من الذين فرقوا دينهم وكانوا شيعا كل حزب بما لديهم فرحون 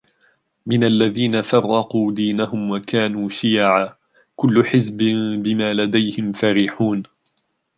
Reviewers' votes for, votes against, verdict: 1, 4, rejected